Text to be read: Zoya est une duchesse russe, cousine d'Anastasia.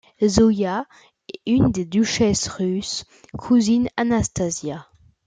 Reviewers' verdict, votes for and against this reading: rejected, 0, 2